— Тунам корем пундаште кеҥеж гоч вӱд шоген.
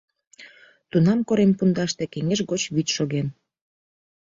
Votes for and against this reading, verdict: 2, 0, accepted